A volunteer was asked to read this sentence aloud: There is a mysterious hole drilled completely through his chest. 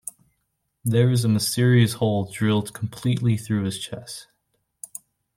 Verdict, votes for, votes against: rejected, 0, 2